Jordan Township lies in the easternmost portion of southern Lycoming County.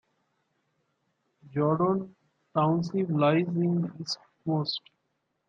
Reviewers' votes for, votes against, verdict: 0, 2, rejected